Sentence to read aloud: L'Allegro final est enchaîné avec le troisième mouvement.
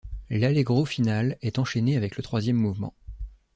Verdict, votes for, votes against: accepted, 2, 0